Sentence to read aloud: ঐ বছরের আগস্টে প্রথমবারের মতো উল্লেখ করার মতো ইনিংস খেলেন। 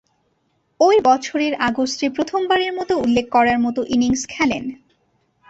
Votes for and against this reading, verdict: 10, 0, accepted